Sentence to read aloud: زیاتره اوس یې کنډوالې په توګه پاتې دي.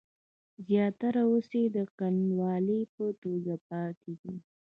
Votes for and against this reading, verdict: 0, 2, rejected